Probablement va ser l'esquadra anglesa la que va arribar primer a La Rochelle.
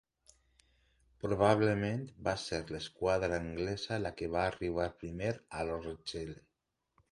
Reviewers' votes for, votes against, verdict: 2, 0, accepted